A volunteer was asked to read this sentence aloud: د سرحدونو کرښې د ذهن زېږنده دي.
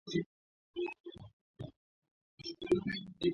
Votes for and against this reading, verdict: 1, 2, rejected